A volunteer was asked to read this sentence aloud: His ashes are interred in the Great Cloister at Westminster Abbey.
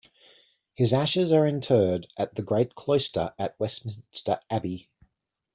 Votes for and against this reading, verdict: 1, 2, rejected